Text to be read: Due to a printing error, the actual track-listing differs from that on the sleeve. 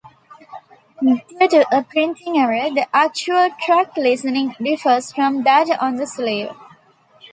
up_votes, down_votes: 1, 2